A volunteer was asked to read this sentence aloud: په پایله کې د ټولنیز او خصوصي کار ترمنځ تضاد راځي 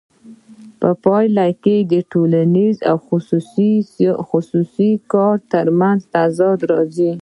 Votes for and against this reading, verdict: 2, 0, accepted